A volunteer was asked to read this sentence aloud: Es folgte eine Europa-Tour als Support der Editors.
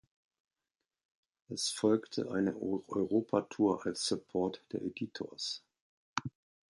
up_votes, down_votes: 0, 2